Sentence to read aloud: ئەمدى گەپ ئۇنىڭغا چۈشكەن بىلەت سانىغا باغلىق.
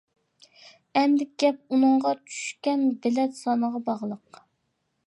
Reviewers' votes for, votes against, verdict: 2, 0, accepted